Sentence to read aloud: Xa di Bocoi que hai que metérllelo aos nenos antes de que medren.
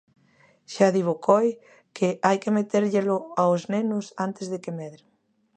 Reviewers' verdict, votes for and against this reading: accepted, 2, 1